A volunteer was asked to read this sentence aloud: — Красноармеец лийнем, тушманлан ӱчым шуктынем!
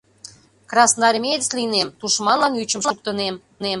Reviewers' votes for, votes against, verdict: 0, 2, rejected